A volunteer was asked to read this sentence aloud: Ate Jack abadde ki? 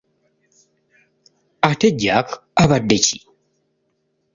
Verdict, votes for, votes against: accepted, 2, 0